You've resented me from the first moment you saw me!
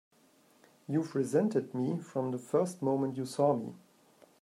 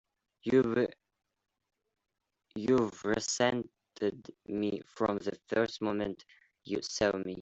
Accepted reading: first